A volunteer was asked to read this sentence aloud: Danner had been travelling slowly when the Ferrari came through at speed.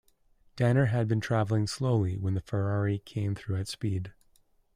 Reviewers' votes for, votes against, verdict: 2, 0, accepted